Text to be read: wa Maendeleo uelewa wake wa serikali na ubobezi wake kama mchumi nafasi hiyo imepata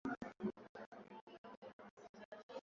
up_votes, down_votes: 0, 5